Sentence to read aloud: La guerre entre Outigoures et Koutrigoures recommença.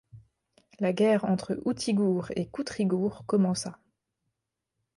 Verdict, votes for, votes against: rejected, 0, 2